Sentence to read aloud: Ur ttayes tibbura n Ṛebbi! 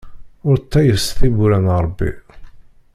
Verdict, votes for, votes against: rejected, 1, 2